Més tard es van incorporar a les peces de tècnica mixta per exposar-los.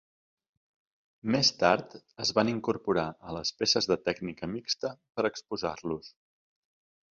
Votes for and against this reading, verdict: 3, 0, accepted